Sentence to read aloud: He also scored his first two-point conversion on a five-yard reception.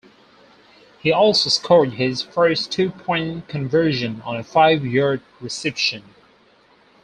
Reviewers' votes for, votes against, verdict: 2, 2, rejected